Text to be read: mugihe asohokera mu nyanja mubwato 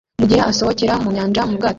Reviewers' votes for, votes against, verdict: 0, 2, rejected